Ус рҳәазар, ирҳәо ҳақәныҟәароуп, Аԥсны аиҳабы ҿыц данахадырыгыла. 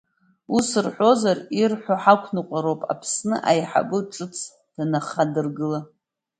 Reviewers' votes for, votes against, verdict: 2, 1, accepted